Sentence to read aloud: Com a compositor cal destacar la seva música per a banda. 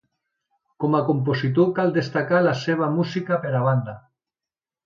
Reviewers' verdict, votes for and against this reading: accepted, 2, 0